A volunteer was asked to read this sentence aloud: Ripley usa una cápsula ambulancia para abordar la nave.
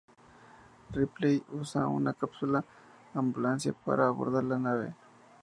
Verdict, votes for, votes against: accepted, 2, 0